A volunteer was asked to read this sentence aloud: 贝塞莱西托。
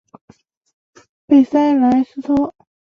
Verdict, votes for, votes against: accepted, 3, 1